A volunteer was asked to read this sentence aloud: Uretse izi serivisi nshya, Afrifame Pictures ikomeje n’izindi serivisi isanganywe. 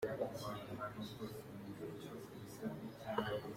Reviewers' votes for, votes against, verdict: 1, 2, rejected